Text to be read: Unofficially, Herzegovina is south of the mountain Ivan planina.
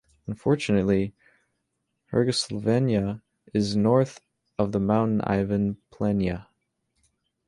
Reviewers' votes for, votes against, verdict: 0, 2, rejected